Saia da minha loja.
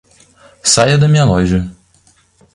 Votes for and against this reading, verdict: 2, 0, accepted